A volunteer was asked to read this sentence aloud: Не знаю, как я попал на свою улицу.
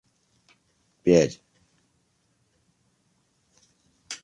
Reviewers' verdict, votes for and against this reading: rejected, 0, 2